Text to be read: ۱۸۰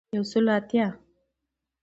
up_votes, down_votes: 0, 2